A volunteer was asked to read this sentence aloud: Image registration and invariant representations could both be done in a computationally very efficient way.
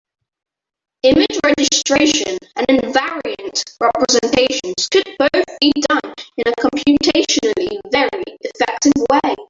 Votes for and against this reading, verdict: 0, 3, rejected